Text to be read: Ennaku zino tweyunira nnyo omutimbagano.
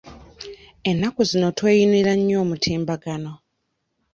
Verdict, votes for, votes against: accepted, 2, 1